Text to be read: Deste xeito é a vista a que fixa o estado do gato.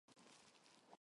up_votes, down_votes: 0, 6